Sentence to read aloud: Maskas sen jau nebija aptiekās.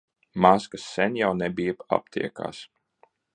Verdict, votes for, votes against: rejected, 1, 2